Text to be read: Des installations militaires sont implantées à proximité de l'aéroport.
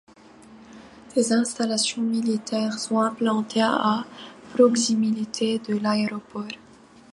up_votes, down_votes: 2, 1